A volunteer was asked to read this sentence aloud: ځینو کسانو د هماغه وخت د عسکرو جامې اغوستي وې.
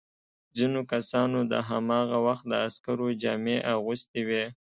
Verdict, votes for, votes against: accepted, 2, 0